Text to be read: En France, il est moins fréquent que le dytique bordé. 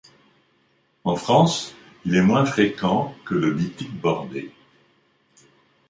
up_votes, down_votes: 2, 0